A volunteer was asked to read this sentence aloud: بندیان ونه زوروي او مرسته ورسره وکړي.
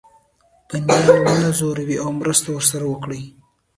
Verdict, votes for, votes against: rejected, 1, 2